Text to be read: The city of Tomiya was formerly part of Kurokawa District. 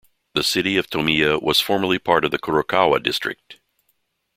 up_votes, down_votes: 0, 2